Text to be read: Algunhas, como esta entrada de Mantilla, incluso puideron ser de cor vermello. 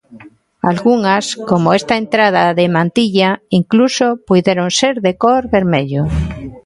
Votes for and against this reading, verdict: 0, 2, rejected